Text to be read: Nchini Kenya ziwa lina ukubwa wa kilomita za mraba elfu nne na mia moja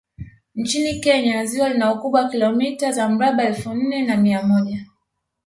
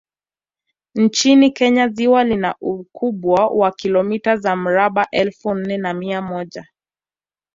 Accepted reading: second